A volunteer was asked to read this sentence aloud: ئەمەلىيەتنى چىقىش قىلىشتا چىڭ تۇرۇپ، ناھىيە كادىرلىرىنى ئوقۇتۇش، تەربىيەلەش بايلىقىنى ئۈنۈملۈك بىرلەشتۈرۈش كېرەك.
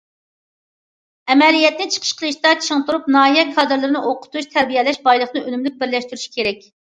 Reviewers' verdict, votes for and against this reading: rejected, 1, 2